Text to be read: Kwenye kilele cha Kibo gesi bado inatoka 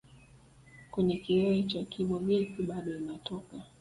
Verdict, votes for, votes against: accepted, 2, 1